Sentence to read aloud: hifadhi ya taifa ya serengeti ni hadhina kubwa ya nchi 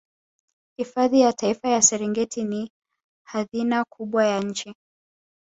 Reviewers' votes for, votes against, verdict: 2, 0, accepted